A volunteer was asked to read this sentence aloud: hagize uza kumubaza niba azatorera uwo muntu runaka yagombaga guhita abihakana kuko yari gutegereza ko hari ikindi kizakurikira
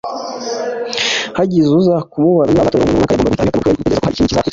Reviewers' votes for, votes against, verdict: 1, 2, rejected